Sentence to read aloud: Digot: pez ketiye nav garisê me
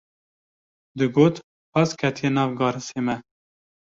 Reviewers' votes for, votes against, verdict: 2, 0, accepted